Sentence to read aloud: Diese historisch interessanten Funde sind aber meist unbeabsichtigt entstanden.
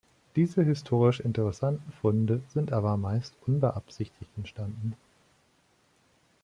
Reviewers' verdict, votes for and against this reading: rejected, 1, 2